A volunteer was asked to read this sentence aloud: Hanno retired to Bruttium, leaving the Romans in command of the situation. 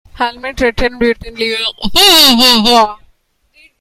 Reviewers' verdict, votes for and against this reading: rejected, 0, 2